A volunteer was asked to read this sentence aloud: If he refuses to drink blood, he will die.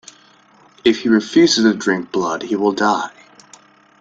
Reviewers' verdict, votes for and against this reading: rejected, 1, 2